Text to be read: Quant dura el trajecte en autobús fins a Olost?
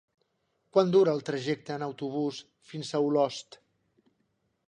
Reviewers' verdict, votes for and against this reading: accepted, 3, 0